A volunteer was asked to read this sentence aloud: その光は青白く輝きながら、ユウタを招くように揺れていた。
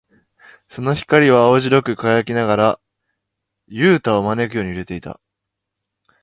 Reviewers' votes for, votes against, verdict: 2, 0, accepted